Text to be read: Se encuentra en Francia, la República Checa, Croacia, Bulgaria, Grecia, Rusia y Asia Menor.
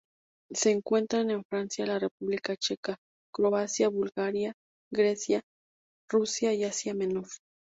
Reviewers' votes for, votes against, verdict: 2, 0, accepted